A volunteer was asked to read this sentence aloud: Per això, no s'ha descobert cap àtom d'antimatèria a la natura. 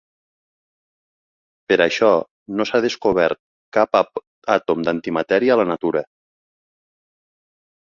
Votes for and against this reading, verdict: 1, 2, rejected